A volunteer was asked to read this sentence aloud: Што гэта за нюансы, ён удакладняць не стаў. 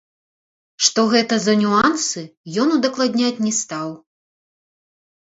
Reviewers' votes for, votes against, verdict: 0, 3, rejected